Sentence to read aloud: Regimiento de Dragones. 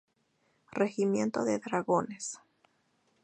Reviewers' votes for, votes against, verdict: 2, 0, accepted